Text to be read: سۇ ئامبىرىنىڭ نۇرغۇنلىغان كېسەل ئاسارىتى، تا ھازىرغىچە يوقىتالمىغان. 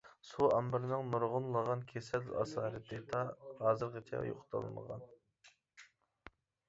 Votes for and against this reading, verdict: 1, 2, rejected